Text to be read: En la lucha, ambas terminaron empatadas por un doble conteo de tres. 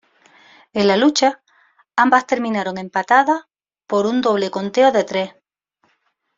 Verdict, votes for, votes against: accepted, 2, 0